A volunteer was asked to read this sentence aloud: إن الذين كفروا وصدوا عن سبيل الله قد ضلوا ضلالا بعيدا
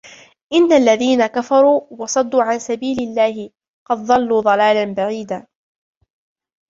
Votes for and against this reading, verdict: 2, 0, accepted